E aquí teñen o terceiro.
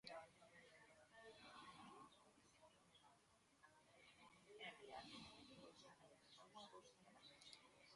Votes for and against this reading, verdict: 0, 2, rejected